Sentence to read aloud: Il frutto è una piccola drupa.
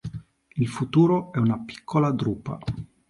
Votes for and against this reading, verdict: 1, 2, rejected